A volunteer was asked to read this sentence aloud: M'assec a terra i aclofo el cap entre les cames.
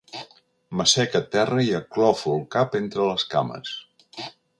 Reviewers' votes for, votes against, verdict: 3, 0, accepted